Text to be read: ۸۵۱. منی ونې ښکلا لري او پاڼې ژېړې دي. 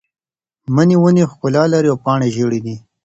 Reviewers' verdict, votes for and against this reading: rejected, 0, 2